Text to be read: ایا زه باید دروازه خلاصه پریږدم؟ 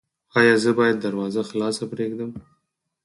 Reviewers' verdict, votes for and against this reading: rejected, 0, 4